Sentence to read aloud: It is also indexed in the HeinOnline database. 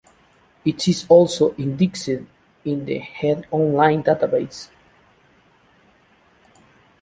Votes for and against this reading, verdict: 2, 0, accepted